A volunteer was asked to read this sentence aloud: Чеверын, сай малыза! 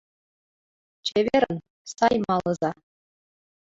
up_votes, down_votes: 2, 1